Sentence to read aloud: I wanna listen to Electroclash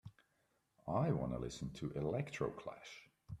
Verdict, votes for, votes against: accepted, 2, 0